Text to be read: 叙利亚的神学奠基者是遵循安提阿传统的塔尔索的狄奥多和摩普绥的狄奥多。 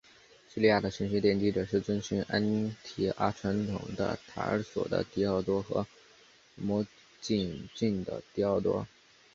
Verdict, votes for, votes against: accepted, 2, 0